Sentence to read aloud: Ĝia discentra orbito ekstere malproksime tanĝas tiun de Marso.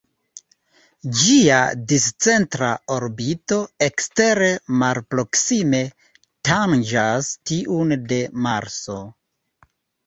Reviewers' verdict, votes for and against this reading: accepted, 2, 0